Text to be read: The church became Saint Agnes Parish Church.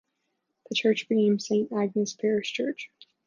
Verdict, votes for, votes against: accepted, 2, 0